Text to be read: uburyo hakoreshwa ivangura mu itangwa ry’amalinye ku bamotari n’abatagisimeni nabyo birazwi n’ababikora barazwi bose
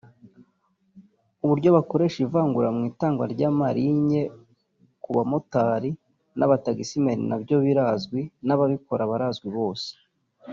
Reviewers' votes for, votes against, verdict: 0, 2, rejected